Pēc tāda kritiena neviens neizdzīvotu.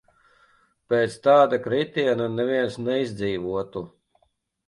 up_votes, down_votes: 2, 0